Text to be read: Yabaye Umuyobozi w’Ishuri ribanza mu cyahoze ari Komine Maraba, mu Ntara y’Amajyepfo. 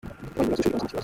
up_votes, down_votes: 0, 2